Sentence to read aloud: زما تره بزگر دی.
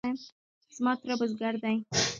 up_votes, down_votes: 1, 2